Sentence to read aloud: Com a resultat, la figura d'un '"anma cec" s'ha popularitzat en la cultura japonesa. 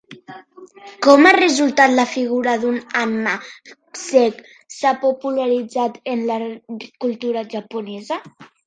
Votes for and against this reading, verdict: 1, 2, rejected